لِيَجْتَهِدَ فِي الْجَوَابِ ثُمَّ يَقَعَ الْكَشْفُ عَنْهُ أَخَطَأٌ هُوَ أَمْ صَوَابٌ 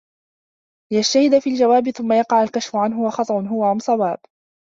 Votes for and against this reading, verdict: 2, 0, accepted